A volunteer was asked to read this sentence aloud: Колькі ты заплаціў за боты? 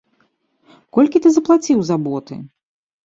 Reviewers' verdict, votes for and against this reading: accepted, 2, 0